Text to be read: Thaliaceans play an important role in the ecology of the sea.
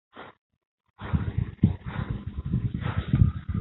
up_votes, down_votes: 0, 2